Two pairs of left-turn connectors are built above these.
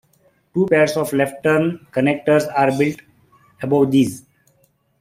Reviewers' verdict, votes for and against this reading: accepted, 2, 0